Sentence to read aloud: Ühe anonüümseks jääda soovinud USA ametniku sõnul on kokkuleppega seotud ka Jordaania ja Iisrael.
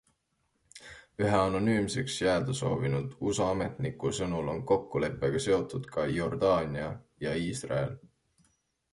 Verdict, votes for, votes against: accepted, 2, 0